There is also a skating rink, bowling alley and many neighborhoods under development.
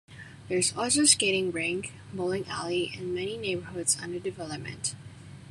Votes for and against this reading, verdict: 2, 0, accepted